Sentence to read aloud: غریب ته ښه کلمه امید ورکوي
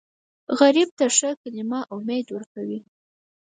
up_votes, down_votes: 4, 0